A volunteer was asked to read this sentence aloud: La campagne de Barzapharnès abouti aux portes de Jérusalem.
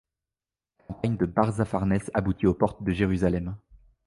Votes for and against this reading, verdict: 1, 2, rejected